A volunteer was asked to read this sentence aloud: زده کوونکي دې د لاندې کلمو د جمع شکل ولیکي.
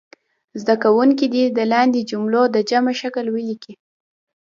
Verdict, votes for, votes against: accepted, 2, 0